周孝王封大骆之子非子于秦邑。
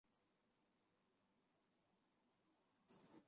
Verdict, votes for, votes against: accepted, 3, 0